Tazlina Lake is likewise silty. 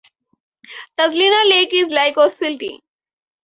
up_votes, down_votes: 4, 0